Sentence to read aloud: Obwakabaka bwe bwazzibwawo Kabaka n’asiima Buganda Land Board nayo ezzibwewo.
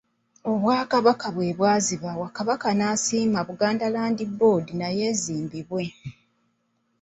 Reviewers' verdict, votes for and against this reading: rejected, 1, 2